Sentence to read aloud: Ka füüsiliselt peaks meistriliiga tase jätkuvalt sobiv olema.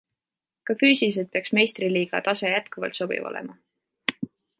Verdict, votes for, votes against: accepted, 2, 0